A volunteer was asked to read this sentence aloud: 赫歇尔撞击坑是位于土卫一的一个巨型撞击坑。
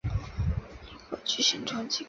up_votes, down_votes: 1, 3